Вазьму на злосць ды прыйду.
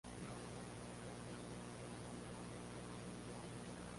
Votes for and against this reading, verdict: 1, 2, rejected